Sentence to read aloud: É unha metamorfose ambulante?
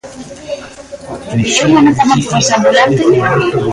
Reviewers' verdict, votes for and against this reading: rejected, 0, 3